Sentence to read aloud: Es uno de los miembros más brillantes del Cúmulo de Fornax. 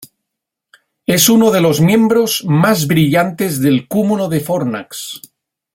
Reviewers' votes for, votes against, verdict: 2, 0, accepted